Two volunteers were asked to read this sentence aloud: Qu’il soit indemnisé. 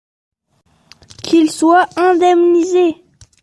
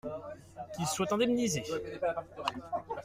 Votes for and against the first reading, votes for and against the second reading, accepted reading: 2, 0, 1, 2, first